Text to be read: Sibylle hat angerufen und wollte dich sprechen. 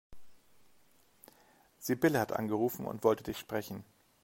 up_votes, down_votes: 3, 0